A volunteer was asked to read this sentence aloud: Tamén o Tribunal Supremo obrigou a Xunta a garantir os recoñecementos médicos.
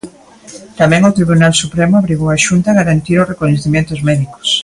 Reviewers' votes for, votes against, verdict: 3, 0, accepted